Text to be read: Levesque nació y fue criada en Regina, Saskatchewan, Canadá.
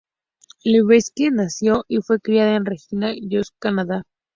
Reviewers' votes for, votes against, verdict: 0, 2, rejected